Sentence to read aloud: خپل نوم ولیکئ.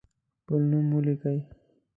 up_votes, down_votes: 2, 0